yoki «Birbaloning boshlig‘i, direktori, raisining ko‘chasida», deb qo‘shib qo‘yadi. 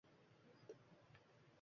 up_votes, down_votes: 1, 2